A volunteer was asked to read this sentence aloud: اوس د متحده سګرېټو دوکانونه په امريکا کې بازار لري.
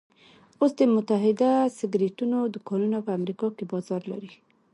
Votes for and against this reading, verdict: 1, 2, rejected